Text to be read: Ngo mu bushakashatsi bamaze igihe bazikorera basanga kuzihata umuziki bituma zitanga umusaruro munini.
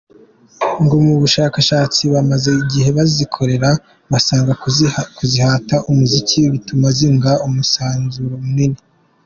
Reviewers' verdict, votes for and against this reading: rejected, 1, 2